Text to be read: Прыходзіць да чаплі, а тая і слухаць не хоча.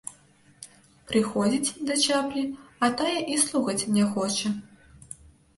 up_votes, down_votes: 2, 0